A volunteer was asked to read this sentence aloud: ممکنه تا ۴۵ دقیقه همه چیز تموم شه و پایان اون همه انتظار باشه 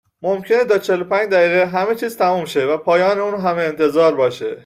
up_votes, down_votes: 0, 2